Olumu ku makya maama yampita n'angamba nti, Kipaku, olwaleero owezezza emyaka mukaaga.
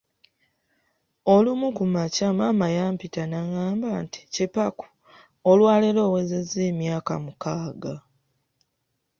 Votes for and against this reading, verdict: 2, 0, accepted